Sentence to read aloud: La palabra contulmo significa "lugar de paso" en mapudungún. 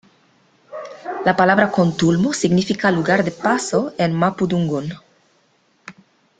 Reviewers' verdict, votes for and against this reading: accepted, 2, 0